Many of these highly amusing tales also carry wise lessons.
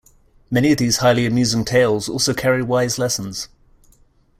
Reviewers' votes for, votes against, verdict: 2, 0, accepted